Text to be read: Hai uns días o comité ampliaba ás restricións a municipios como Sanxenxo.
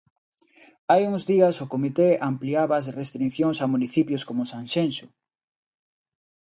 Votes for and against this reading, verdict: 0, 2, rejected